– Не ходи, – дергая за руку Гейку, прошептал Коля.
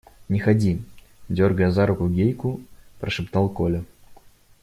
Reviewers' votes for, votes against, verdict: 2, 0, accepted